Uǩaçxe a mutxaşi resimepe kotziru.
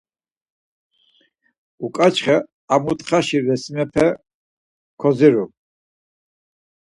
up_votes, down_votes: 2, 4